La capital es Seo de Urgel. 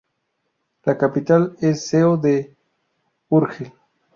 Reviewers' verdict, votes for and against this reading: rejected, 0, 2